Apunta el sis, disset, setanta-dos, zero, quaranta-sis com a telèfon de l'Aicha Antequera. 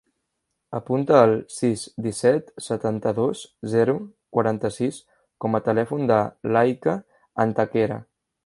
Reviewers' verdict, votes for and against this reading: rejected, 0, 2